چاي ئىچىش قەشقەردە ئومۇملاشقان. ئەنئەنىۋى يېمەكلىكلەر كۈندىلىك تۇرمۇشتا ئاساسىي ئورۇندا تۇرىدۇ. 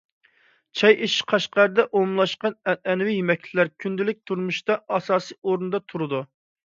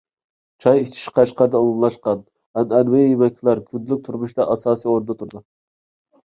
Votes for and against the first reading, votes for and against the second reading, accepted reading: 2, 0, 1, 2, first